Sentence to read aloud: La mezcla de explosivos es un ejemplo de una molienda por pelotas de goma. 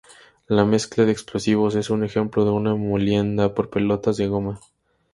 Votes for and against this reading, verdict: 2, 0, accepted